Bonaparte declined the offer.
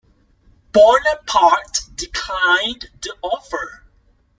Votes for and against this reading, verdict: 1, 2, rejected